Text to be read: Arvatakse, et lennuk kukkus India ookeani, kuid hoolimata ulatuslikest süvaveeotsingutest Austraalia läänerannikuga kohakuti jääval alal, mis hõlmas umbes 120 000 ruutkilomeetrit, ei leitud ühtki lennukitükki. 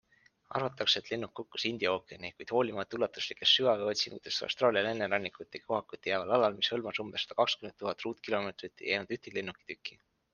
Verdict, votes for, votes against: rejected, 0, 2